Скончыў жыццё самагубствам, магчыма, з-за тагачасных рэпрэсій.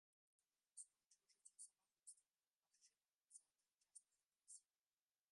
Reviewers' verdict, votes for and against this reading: rejected, 0, 2